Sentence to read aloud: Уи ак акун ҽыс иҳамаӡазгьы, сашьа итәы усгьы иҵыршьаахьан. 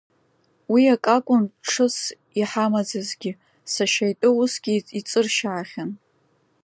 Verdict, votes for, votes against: accepted, 2, 0